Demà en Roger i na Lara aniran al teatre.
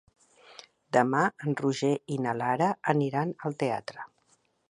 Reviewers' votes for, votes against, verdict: 2, 0, accepted